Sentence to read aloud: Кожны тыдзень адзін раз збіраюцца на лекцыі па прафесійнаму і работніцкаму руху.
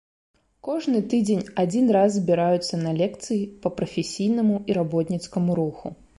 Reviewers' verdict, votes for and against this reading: accepted, 2, 0